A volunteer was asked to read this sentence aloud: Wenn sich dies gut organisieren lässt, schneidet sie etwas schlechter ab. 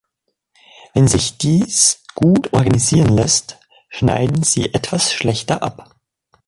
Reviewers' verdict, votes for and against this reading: rejected, 0, 2